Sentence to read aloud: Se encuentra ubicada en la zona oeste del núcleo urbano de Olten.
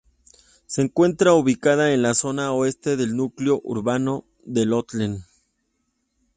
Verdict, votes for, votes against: rejected, 0, 2